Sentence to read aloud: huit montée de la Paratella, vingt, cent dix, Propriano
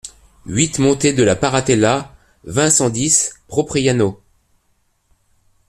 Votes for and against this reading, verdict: 2, 0, accepted